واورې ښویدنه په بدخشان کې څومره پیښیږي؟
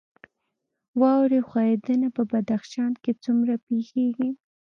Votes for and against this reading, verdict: 0, 2, rejected